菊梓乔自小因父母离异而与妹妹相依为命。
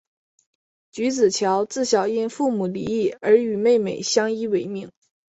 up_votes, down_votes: 2, 0